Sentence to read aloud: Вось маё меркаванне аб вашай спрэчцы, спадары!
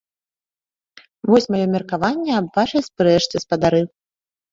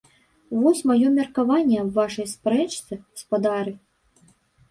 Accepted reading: first